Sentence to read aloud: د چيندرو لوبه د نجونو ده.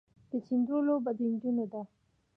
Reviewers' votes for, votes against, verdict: 2, 1, accepted